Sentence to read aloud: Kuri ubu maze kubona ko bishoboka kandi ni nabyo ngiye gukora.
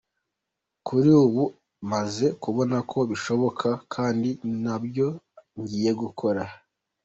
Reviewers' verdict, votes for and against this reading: accepted, 2, 0